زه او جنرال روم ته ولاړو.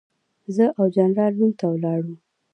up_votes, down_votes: 0, 2